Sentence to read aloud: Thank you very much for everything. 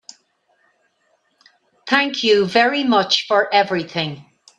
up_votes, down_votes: 2, 0